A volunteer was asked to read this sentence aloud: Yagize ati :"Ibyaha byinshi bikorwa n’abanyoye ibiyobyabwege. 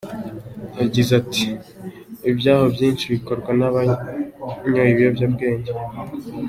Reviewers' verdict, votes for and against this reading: accepted, 2, 0